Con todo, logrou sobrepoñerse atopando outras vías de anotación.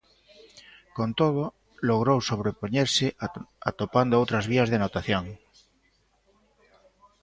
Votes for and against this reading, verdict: 0, 2, rejected